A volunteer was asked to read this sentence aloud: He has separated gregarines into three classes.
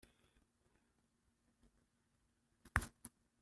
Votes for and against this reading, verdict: 0, 2, rejected